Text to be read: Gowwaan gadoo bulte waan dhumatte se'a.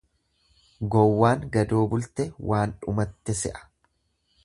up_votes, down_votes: 2, 0